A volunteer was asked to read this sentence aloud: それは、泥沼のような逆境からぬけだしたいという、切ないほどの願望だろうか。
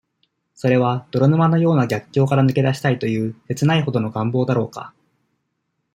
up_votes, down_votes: 2, 0